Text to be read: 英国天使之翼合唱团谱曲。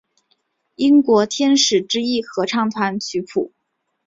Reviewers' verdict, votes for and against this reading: accepted, 4, 1